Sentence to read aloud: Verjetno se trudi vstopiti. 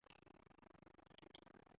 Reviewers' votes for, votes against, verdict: 0, 2, rejected